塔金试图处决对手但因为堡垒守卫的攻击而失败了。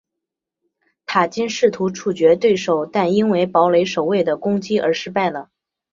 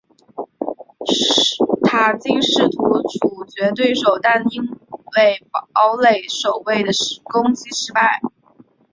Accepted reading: first